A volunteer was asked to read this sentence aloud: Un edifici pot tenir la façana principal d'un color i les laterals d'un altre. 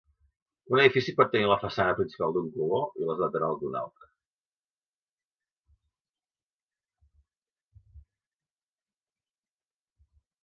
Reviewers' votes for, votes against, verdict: 2, 0, accepted